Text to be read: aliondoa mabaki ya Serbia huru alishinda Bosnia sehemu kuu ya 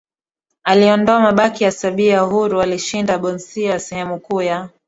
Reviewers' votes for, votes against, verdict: 2, 0, accepted